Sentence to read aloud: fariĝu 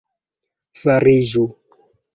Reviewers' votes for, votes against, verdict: 2, 0, accepted